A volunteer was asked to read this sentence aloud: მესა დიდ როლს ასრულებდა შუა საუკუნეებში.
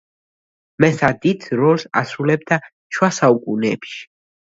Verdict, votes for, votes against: accepted, 2, 0